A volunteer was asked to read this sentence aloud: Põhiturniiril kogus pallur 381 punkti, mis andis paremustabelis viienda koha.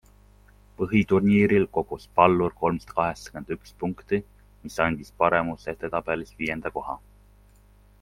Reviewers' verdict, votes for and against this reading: rejected, 0, 2